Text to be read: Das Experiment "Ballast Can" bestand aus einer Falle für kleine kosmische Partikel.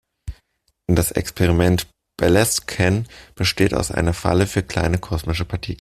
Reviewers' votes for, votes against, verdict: 2, 0, accepted